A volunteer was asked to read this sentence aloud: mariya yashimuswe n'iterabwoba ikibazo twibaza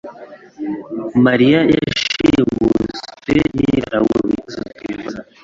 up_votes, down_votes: 0, 2